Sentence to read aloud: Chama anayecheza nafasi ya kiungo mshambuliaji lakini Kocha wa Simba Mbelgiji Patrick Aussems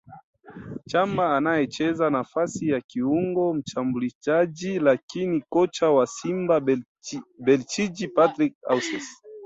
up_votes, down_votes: 3, 4